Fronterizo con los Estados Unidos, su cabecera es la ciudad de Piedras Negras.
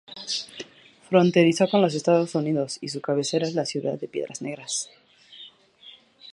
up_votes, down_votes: 2, 2